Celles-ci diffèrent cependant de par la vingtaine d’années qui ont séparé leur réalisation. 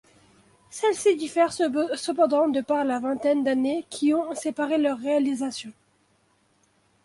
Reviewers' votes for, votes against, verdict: 1, 2, rejected